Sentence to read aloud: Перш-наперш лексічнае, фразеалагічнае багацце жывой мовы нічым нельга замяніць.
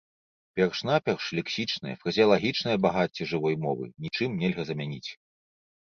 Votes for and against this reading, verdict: 2, 0, accepted